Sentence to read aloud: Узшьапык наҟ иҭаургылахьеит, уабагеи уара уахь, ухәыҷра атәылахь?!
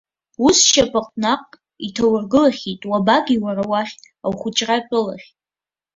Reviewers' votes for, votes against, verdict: 3, 1, accepted